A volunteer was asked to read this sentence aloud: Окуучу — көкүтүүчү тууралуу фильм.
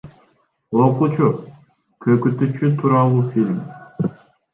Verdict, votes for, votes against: rejected, 0, 2